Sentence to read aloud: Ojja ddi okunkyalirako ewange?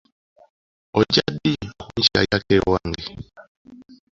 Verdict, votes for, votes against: accepted, 2, 0